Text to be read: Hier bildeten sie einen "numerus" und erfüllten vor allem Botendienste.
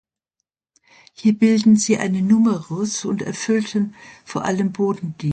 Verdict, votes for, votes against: rejected, 0, 2